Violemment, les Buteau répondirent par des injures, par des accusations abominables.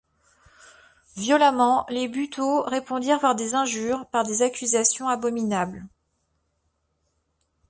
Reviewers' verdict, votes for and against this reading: accepted, 2, 0